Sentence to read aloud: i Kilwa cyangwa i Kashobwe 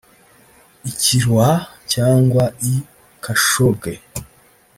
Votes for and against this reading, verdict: 1, 2, rejected